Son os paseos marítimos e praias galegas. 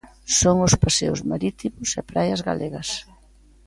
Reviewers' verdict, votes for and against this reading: accepted, 2, 0